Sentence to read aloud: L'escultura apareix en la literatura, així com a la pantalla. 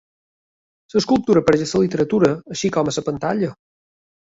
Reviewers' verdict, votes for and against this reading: rejected, 0, 2